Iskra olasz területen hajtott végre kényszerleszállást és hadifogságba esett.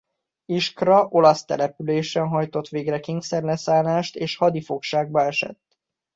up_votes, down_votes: 0, 2